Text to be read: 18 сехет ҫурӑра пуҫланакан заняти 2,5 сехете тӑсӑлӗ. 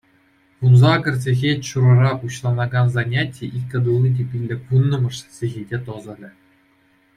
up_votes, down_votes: 0, 2